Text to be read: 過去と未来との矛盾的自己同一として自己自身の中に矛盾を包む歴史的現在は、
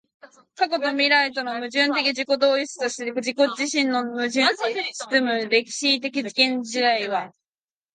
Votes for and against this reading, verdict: 1, 2, rejected